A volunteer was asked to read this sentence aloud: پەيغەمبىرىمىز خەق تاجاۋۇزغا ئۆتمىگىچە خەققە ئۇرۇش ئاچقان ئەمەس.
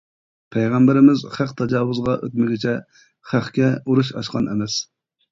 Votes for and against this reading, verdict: 0, 2, rejected